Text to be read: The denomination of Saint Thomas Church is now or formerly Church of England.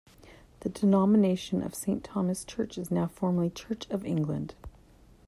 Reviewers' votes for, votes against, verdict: 1, 2, rejected